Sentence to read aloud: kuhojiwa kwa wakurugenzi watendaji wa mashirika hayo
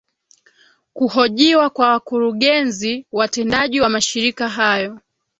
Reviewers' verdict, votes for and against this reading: accepted, 2, 0